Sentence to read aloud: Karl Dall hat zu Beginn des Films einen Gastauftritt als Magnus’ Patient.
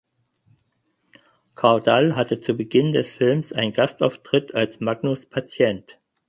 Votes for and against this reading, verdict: 4, 2, accepted